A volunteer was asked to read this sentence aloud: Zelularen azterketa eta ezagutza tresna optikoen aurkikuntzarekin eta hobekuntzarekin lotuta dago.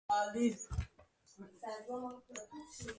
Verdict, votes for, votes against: rejected, 1, 2